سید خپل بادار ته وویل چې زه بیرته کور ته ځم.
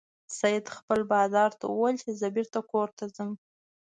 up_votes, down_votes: 0, 2